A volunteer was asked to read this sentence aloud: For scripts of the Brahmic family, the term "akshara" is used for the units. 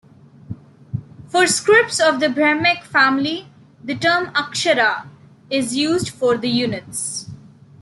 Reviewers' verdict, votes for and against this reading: accepted, 2, 0